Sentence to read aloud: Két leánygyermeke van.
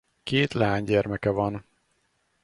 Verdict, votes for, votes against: accepted, 4, 0